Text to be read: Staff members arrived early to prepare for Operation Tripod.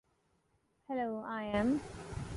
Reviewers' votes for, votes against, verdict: 1, 2, rejected